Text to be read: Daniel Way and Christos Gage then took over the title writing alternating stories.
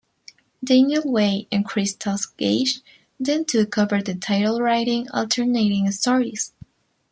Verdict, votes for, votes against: accepted, 2, 0